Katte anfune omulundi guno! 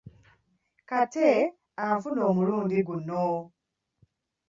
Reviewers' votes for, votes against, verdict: 0, 2, rejected